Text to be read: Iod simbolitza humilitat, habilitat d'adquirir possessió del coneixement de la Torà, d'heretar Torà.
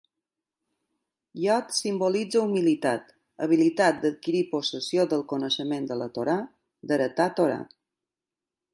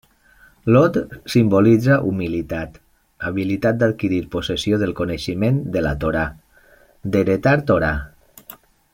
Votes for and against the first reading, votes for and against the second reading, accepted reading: 2, 0, 1, 2, first